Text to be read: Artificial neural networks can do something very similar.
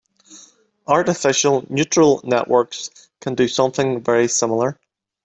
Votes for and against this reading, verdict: 0, 2, rejected